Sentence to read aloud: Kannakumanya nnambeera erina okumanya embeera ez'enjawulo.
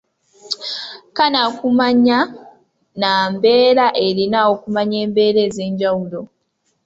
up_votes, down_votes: 2, 0